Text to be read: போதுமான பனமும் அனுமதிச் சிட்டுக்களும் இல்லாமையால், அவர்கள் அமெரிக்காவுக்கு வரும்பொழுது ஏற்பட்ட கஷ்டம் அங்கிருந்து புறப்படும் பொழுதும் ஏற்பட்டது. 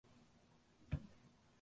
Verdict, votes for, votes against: rejected, 0, 2